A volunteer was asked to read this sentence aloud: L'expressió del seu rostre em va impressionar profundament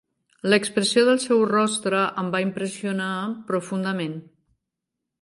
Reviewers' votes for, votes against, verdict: 4, 0, accepted